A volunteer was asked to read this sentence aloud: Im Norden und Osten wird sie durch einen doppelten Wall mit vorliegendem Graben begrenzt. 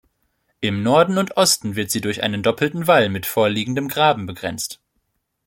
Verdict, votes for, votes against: accepted, 2, 0